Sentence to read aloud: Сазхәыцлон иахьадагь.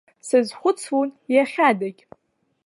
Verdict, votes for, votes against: accepted, 2, 1